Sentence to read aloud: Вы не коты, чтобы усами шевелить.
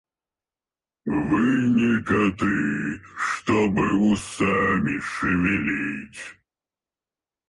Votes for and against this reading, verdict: 2, 4, rejected